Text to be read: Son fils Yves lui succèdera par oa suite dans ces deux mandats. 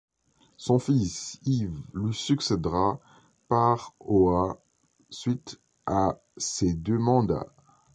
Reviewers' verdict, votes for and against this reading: rejected, 1, 2